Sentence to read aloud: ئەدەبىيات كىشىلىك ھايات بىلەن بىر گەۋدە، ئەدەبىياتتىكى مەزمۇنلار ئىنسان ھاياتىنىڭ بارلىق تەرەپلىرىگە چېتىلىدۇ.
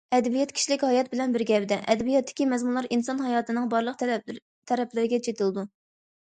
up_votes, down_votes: 0, 2